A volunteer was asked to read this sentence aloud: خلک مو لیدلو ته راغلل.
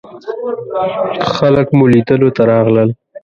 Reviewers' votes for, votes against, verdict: 2, 0, accepted